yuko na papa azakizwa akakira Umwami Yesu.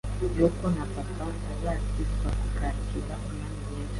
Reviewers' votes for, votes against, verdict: 1, 2, rejected